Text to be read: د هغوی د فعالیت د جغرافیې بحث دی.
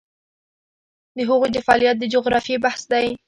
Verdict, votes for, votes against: accepted, 2, 0